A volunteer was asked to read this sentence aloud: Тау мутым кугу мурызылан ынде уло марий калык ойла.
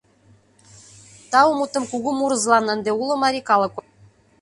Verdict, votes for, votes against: rejected, 1, 2